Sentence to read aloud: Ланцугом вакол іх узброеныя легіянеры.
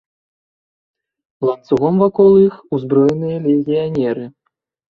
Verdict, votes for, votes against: accepted, 2, 0